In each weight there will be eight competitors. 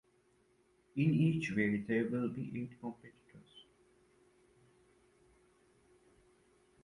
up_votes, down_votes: 1, 2